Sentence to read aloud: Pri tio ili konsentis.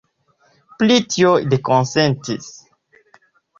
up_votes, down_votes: 2, 0